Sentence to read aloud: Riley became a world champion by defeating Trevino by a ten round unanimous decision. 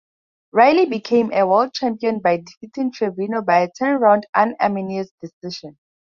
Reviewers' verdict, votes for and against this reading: rejected, 0, 2